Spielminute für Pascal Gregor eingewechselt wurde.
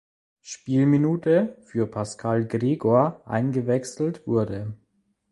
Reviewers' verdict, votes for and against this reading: accepted, 2, 0